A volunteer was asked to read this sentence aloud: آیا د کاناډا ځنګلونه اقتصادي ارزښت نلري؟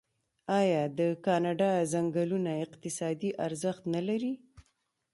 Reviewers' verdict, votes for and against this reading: rejected, 1, 2